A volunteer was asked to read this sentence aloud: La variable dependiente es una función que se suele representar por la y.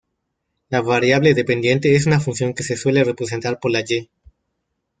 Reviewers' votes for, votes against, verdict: 1, 2, rejected